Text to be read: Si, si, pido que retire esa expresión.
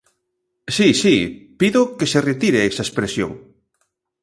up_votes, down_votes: 1, 2